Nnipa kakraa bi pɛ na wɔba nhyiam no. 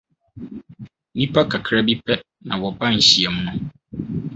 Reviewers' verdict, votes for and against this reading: accepted, 4, 0